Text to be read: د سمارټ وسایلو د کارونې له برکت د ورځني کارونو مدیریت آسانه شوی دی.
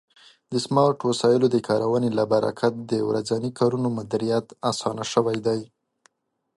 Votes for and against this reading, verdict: 2, 0, accepted